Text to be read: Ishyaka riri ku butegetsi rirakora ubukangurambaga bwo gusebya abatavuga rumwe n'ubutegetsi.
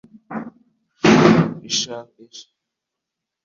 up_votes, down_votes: 0, 2